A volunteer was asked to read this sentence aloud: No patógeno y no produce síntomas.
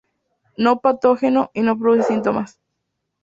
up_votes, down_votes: 0, 2